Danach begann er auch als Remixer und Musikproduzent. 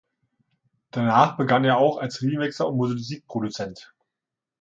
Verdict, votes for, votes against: rejected, 1, 2